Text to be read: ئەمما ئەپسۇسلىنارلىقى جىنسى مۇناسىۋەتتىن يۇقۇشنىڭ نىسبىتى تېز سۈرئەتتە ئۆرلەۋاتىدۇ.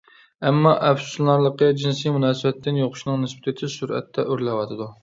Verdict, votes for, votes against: accepted, 2, 0